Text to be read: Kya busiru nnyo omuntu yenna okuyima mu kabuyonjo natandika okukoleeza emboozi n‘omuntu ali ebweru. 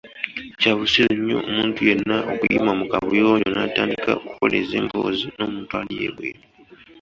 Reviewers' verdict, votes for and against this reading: accepted, 2, 0